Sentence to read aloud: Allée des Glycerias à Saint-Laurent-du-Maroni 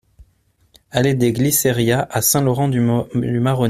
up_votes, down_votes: 0, 2